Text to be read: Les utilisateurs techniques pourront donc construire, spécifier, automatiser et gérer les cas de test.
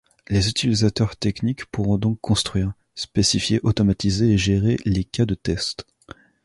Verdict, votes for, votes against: accepted, 3, 0